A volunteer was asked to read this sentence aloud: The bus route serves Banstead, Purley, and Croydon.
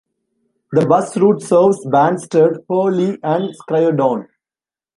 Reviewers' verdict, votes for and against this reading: rejected, 0, 2